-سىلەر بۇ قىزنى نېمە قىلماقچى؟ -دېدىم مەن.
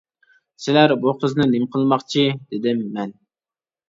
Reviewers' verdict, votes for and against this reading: accepted, 2, 0